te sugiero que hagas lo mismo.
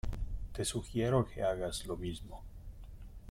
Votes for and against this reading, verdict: 2, 1, accepted